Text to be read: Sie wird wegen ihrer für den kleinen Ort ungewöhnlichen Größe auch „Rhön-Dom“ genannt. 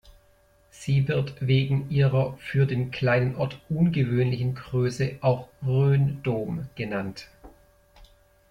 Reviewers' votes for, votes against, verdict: 2, 0, accepted